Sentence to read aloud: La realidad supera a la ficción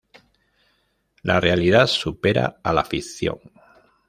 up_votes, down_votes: 1, 2